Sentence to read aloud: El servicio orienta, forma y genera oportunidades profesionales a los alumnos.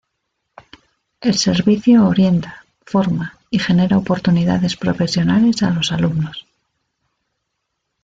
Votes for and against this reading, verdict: 1, 2, rejected